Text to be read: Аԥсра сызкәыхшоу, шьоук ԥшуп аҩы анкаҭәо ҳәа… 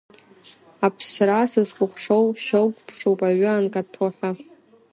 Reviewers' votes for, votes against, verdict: 0, 2, rejected